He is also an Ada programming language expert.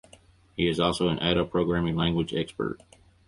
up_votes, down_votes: 4, 0